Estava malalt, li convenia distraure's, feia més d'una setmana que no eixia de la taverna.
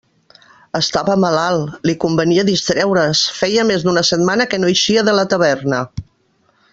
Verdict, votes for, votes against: rejected, 0, 2